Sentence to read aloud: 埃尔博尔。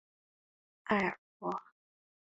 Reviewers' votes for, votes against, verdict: 0, 3, rejected